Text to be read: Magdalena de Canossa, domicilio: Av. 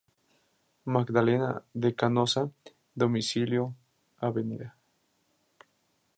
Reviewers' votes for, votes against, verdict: 0, 2, rejected